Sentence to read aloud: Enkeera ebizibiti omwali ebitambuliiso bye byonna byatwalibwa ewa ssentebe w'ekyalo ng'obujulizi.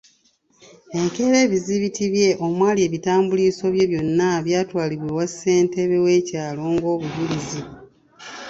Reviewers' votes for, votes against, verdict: 2, 4, rejected